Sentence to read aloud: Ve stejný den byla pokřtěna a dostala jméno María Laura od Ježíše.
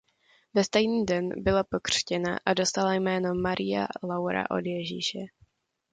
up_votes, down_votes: 2, 0